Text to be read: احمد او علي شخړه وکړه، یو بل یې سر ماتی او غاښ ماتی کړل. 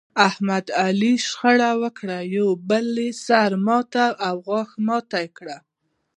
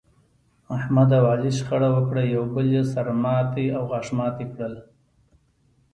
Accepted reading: second